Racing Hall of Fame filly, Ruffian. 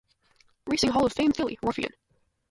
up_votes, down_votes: 2, 2